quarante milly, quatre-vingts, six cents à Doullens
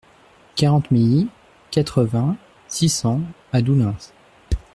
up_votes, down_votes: 2, 0